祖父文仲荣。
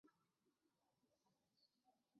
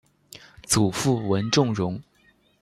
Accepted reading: second